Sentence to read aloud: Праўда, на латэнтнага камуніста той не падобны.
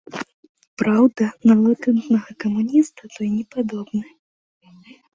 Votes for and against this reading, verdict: 2, 0, accepted